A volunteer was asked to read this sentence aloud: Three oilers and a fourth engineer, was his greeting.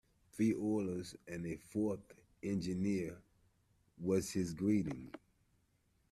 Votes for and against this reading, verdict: 2, 0, accepted